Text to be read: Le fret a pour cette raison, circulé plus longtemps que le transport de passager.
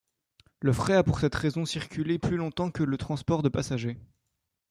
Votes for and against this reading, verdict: 1, 2, rejected